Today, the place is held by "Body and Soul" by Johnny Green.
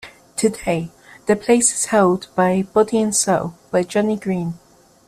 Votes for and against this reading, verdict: 2, 0, accepted